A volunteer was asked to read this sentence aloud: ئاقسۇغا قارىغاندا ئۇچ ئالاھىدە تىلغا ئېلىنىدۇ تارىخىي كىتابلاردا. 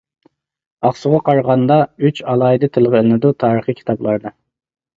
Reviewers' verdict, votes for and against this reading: rejected, 0, 2